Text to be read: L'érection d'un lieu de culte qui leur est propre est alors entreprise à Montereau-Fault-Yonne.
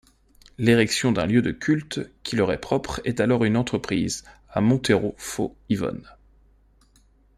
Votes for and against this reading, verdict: 0, 2, rejected